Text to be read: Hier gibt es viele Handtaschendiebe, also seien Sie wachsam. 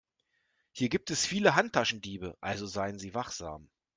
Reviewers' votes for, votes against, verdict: 2, 0, accepted